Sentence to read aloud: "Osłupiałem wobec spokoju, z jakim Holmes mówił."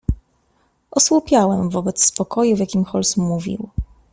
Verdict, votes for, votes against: rejected, 0, 2